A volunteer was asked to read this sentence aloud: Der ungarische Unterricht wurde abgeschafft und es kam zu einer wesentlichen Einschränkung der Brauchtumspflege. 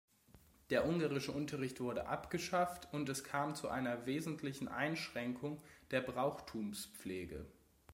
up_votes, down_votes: 2, 0